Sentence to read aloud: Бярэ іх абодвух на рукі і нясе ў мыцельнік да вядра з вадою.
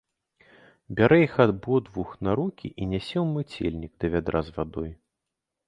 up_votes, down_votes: 2, 0